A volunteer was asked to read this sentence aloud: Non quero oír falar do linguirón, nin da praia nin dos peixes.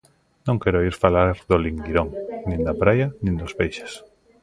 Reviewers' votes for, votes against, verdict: 1, 2, rejected